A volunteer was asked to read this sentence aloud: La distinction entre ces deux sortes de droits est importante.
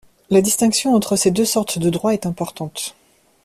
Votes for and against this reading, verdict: 2, 0, accepted